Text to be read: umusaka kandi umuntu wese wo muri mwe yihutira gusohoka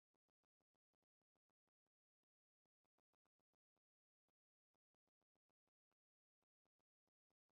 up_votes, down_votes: 0, 2